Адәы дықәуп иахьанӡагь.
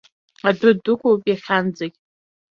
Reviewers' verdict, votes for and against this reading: accepted, 2, 0